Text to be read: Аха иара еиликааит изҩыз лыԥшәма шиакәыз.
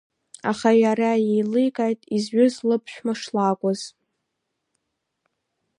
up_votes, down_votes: 0, 2